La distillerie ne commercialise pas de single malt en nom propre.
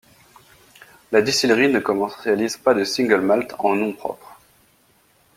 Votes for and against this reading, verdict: 1, 2, rejected